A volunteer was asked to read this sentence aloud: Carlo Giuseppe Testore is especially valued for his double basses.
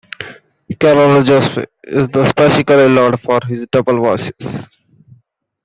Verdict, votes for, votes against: rejected, 0, 2